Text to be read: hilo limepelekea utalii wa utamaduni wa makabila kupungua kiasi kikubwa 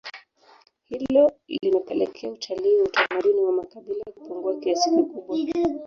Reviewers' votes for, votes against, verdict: 1, 2, rejected